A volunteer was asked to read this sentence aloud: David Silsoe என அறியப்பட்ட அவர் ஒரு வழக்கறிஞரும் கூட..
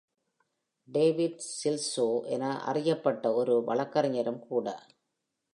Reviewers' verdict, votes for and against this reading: rejected, 0, 2